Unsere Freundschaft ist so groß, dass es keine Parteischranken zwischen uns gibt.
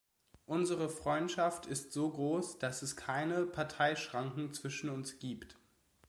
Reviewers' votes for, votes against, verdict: 2, 0, accepted